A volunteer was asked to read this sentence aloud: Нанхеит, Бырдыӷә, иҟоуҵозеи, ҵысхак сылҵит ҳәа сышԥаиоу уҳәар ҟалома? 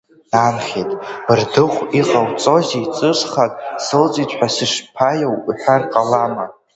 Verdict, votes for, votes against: rejected, 0, 3